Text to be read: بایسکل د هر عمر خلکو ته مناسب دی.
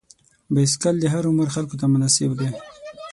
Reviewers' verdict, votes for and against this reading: rejected, 3, 6